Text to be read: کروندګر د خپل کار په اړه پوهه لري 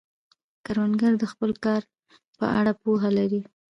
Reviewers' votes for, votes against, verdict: 2, 0, accepted